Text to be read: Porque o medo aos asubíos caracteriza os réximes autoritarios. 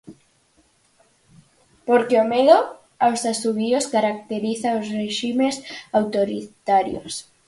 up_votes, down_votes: 4, 2